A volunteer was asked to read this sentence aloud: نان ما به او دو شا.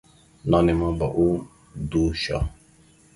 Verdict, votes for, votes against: rejected, 1, 2